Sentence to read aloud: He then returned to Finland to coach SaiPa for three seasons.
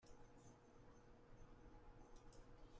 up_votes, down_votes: 0, 2